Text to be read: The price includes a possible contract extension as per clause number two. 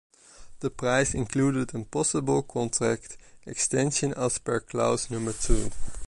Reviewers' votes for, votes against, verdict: 0, 2, rejected